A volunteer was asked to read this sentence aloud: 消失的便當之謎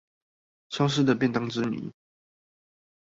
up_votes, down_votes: 2, 0